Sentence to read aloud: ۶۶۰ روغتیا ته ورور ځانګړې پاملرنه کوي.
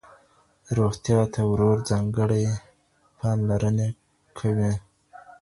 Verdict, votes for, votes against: rejected, 0, 2